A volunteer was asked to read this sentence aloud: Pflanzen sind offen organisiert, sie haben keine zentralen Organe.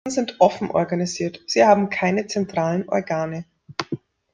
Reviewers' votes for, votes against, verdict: 0, 2, rejected